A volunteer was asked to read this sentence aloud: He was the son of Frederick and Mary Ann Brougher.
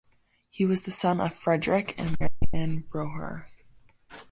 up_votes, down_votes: 1, 2